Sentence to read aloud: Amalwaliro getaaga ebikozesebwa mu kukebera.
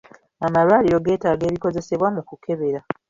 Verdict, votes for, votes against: accepted, 2, 0